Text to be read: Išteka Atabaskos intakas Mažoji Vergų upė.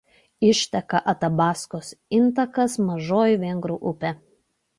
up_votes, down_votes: 0, 2